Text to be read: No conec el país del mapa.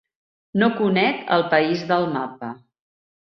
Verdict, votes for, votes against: accepted, 3, 0